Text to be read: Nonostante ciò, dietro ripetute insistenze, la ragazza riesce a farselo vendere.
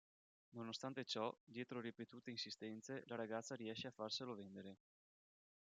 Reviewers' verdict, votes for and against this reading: rejected, 2, 3